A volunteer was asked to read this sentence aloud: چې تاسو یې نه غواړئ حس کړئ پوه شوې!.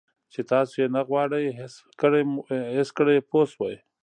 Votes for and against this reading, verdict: 2, 1, accepted